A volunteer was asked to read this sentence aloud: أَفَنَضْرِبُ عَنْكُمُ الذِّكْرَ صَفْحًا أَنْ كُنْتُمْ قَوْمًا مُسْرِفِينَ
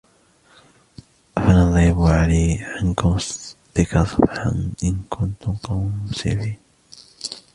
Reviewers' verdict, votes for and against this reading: rejected, 1, 2